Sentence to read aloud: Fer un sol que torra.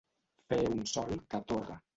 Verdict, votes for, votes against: rejected, 1, 2